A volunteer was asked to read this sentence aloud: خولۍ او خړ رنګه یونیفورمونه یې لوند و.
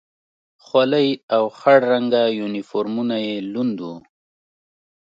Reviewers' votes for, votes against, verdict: 2, 0, accepted